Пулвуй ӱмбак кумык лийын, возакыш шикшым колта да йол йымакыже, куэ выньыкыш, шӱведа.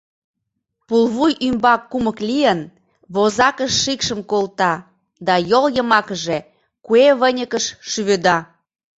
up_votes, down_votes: 2, 0